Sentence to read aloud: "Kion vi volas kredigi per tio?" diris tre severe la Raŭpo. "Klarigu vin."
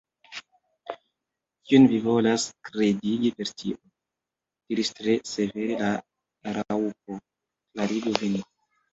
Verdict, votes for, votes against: rejected, 1, 2